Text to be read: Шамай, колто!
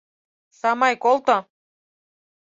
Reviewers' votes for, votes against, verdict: 2, 4, rejected